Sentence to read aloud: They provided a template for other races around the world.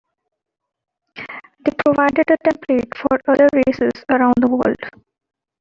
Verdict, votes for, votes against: accepted, 2, 1